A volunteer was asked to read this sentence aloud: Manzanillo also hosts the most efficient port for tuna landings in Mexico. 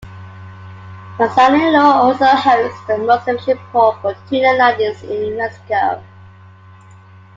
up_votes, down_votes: 0, 2